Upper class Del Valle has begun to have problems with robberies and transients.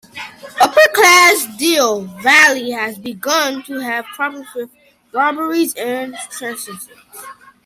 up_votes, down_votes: 0, 2